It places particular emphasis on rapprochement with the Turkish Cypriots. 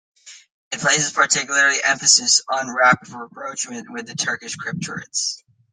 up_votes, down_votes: 0, 2